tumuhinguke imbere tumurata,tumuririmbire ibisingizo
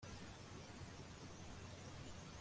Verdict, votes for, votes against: rejected, 0, 2